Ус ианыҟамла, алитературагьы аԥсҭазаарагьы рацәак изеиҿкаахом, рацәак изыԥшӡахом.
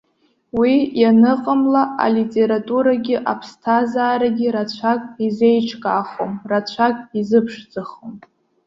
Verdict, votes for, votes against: rejected, 1, 2